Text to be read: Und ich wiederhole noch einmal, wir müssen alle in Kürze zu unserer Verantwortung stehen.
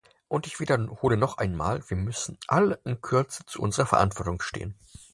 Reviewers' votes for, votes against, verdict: 4, 2, accepted